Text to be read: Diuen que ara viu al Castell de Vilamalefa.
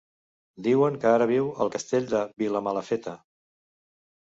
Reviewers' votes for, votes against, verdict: 1, 2, rejected